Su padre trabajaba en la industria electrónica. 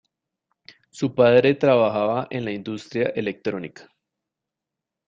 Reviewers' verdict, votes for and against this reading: accepted, 2, 0